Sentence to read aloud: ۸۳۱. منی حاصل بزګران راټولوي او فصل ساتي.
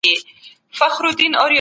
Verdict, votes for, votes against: rejected, 0, 2